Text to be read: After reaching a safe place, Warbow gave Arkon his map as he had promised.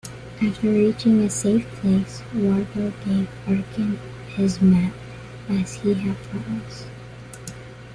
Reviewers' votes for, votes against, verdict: 2, 0, accepted